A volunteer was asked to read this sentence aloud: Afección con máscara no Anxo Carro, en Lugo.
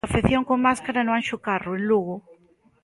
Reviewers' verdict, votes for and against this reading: accepted, 2, 0